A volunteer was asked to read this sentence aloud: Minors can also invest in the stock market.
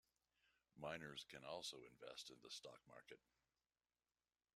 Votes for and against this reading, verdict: 2, 0, accepted